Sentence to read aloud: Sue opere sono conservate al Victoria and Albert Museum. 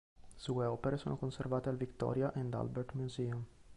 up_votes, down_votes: 2, 0